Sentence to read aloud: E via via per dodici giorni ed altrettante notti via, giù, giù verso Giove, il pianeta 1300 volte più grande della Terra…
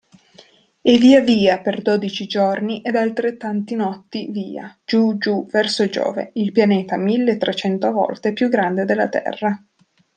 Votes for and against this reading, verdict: 0, 2, rejected